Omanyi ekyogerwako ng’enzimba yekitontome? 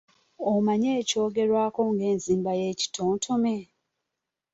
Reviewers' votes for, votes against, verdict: 2, 0, accepted